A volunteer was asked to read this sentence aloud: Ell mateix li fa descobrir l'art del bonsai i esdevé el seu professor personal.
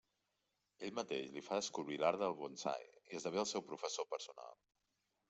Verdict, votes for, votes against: accepted, 2, 1